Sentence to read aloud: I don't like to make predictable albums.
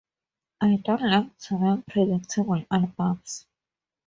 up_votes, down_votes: 4, 0